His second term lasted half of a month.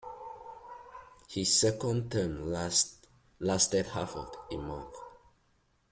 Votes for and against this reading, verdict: 1, 2, rejected